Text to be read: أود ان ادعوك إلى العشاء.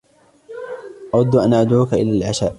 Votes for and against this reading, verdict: 2, 0, accepted